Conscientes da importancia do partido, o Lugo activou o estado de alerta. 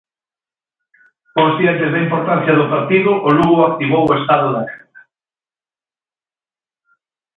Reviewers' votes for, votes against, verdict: 0, 2, rejected